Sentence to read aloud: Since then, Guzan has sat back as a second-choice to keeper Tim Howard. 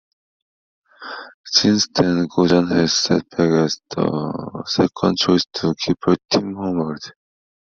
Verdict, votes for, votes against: rejected, 0, 2